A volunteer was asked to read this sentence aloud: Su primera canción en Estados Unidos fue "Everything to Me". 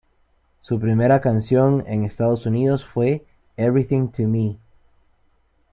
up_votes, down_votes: 3, 0